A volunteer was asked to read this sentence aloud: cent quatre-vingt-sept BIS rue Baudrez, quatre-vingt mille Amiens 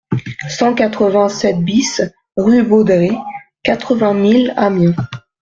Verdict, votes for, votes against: accepted, 2, 0